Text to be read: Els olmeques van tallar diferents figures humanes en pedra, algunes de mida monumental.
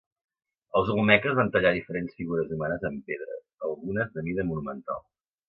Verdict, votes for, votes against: accepted, 2, 1